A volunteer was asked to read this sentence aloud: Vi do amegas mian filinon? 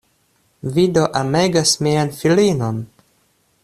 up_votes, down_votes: 2, 0